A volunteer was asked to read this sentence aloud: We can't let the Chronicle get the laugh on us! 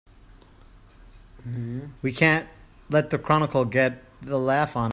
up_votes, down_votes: 0, 2